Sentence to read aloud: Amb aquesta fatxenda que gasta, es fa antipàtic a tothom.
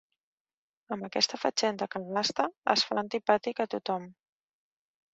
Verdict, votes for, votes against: rejected, 1, 3